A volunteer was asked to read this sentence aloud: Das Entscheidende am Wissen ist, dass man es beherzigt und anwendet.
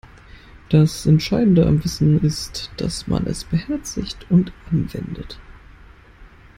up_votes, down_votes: 3, 0